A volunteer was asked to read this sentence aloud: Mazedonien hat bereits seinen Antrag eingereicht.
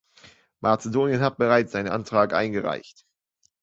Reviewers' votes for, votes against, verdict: 2, 0, accepted